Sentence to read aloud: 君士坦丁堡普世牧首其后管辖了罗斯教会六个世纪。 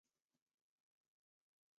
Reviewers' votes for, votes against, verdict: 0, 4, rejected